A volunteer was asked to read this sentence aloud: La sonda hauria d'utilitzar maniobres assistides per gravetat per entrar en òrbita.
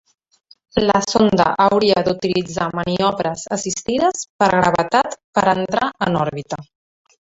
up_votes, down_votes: 1, 2